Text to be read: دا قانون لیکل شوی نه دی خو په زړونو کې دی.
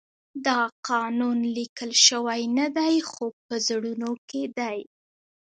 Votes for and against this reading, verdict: 2, 0, accepted